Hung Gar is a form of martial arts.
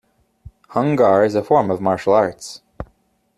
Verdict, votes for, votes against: accepted, 2, 0